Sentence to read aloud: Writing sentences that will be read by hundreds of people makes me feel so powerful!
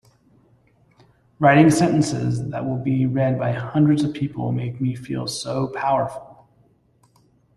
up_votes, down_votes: 1, 2